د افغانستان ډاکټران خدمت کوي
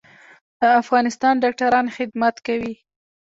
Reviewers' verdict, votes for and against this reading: rejected, 1, 2